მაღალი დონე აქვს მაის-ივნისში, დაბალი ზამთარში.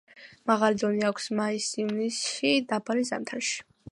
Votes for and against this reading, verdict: 2, 0, accepted